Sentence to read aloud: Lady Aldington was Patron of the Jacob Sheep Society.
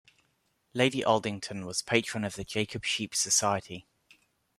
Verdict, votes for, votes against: accepted, 2, 0